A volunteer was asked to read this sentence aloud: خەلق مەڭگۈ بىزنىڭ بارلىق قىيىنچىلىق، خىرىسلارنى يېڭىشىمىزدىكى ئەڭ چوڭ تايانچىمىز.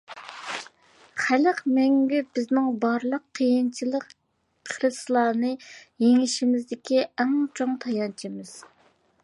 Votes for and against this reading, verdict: 2, 0, accepted